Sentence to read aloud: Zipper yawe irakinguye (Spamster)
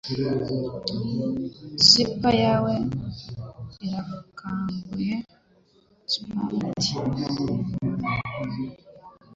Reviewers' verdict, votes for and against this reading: rejected, 1, 2